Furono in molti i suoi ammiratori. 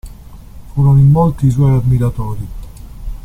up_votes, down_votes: 1, 2